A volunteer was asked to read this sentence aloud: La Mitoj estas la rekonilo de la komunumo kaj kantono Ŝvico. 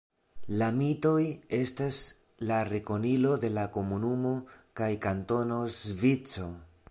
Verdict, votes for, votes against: rejected, 1, 2